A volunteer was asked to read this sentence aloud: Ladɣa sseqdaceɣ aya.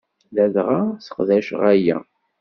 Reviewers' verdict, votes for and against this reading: accepted, 2, 0